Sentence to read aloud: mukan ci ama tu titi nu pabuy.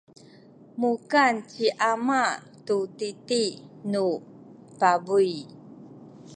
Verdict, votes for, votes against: accepted, 2, 1